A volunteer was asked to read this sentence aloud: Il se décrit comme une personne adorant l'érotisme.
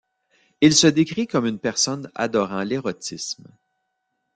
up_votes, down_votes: 2, 0